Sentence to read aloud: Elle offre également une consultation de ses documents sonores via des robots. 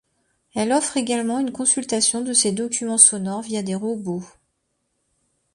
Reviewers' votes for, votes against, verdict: 2, 0, accepted